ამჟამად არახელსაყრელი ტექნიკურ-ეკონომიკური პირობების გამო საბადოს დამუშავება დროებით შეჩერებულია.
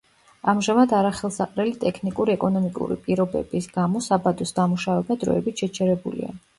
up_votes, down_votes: 2, 0